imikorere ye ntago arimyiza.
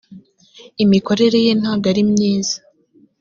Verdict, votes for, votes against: accepted, 3, 0